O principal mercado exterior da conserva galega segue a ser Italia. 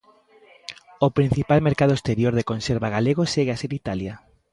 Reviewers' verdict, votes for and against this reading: accepted, 2, 1